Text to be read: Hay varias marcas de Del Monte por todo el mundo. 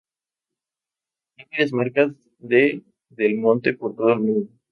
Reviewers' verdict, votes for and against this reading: accepted, 2, 0